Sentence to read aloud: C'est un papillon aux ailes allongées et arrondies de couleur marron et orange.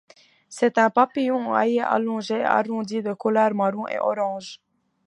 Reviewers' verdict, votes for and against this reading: rejected, 1, 2